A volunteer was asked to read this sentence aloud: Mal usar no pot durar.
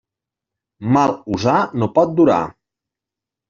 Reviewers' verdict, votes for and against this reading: accepted, 2, 0